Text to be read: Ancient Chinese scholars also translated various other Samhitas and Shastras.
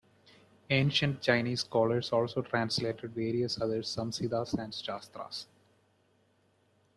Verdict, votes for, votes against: rejected, 1, 2